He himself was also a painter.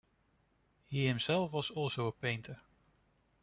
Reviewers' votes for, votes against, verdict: 2, 0, accepted